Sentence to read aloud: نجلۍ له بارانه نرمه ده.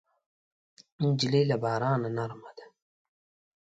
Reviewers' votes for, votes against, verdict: 2, 0, accepted